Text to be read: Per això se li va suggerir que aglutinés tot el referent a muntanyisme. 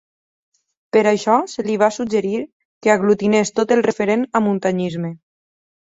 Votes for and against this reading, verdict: 0, 4, rejected